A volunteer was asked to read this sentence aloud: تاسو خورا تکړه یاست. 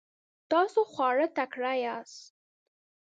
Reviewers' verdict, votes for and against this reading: rejected, 0, 2